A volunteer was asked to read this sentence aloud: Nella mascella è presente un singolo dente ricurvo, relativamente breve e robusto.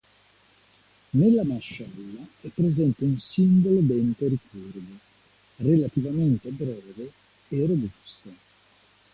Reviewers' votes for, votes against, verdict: 1, 2, rejected